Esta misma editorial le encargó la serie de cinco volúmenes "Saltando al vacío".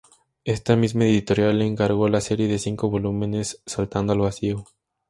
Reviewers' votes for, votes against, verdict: 6, 0, accepted